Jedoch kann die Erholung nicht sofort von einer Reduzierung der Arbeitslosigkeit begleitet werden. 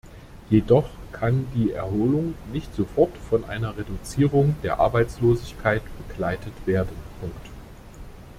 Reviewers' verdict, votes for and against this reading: rejected, 0, 2